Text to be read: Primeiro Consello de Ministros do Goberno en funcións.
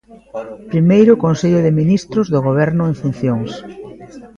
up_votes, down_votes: 2, 0